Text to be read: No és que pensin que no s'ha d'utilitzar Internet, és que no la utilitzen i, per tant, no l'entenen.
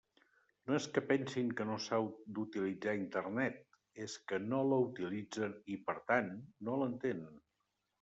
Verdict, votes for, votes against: accepted, 2, 1